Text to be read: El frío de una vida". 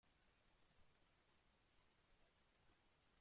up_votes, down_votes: 0, 2